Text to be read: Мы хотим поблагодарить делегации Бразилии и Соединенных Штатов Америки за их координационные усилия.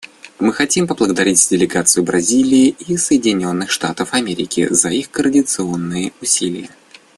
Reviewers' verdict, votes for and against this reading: accepted, 2, 0